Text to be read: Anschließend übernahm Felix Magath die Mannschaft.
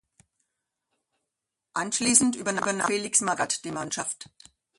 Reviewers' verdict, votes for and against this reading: rejected, 0, 2